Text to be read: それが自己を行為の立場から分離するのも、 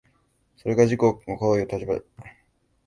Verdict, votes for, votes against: accepted, 2, 1